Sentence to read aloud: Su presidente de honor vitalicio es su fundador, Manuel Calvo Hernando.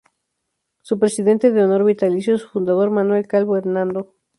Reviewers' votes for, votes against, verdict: 0, 2, rejected